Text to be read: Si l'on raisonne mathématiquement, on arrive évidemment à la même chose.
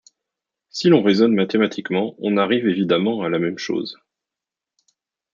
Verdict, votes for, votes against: accepted, 2, 0